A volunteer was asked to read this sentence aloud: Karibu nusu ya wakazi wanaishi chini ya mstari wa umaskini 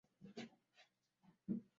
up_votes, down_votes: 0, 2